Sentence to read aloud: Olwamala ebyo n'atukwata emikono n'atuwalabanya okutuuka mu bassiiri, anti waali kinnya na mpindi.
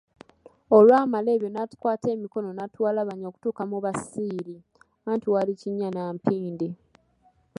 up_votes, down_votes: 0, 2